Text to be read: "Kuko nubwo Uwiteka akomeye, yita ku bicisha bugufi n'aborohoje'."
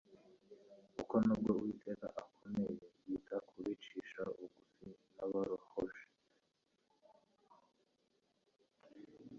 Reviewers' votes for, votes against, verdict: 1, 2, rejected